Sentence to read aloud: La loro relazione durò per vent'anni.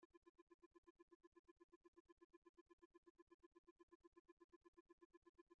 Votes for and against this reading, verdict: 0, 2, rejected